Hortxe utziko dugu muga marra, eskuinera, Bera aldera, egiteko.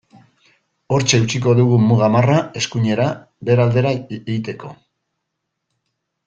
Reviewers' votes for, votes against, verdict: 0, 2, rejected